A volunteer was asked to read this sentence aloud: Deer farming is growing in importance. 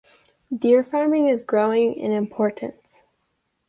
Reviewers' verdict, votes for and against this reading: accepted, 2, 0